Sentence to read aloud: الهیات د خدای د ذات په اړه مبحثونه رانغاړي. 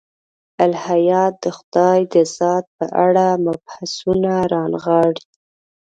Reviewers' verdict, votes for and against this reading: rejected, 1, 2